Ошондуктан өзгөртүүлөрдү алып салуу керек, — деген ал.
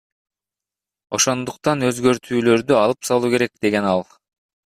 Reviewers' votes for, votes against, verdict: 3, 1, accepted